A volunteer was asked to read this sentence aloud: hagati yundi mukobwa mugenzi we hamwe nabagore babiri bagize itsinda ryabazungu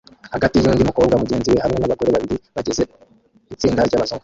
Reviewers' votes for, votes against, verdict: 0, 2, rejected